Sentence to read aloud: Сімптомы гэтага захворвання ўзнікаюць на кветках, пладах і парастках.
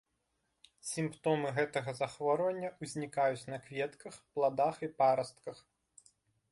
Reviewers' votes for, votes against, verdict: 2, 0, accepted